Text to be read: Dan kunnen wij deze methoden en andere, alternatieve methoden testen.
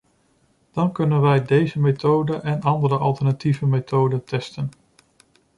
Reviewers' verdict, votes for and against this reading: accepted, 2, 0